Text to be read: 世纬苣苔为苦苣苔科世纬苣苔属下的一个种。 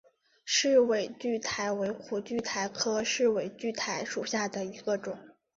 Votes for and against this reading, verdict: 2, 1, accepted